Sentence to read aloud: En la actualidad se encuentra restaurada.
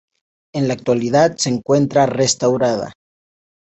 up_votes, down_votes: 2, 0